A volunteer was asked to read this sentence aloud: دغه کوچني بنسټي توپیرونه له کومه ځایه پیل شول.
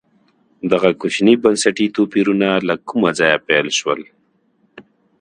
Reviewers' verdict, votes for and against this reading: accepted, 2, 0